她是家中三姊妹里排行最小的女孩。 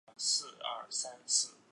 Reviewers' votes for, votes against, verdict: 0, 2, rejected